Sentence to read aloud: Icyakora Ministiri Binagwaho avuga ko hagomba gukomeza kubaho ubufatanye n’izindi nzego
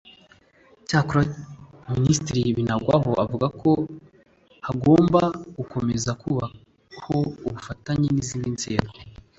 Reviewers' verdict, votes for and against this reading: accepted, 2, 0